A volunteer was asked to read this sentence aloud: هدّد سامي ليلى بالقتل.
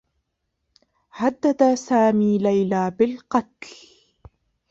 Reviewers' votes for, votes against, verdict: 0, 2, rejected